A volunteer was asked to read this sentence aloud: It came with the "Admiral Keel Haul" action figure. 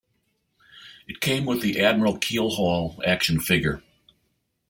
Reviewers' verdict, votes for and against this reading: accepted, 2, 0